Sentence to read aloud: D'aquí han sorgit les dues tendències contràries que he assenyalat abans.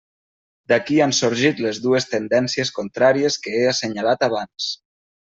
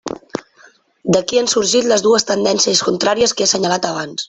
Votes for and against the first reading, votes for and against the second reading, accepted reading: 4, 0, 1, 2, first